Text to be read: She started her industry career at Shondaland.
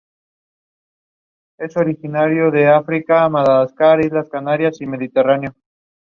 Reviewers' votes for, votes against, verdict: 0, 2, rejected